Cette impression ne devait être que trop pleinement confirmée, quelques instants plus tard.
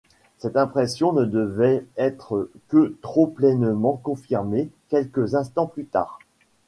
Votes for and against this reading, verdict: 2, 0, accepted